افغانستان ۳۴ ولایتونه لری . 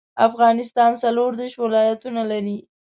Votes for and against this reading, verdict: 0, 2, rejected